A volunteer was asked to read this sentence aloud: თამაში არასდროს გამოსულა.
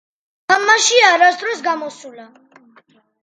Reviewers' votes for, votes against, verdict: 2, 0, accepted